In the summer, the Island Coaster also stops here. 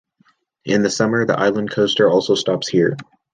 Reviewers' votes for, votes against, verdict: 2, 0, accepted